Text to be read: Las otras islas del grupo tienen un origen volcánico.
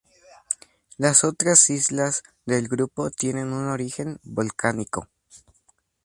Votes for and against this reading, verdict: 4, 0, accepted